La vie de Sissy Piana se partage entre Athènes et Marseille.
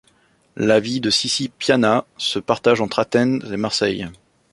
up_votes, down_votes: 2, 1